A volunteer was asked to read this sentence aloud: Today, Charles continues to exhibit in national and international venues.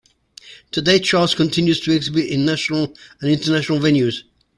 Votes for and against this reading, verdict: 2, 0, accepted